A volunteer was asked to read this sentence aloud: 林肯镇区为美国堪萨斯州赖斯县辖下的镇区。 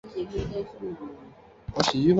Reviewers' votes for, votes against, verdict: 0, 2, rejected